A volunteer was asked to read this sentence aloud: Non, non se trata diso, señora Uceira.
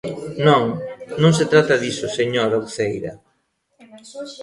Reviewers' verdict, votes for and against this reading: accepted, 2, 1